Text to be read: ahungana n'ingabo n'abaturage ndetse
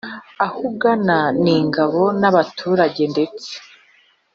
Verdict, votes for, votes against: accepted, 2, 0